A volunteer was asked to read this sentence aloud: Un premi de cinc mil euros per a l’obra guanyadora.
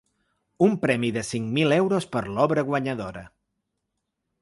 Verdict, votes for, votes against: rejected, 0, 2